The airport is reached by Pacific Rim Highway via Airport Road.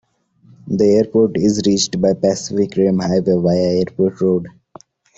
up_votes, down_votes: 2, 0